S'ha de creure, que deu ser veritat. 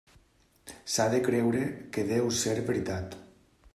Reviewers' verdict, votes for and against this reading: accepted, 3, 0